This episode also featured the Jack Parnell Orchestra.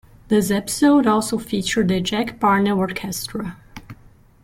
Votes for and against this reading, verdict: 2, 0, accepted